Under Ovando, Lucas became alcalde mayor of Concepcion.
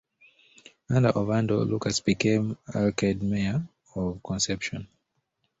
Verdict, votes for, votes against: rejected, 1, 2